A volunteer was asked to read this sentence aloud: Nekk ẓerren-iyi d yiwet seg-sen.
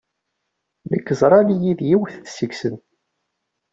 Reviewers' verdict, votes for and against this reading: rejected, 0, 2